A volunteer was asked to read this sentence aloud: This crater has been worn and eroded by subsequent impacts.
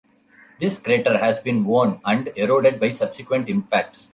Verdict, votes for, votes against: accepted, 2, 1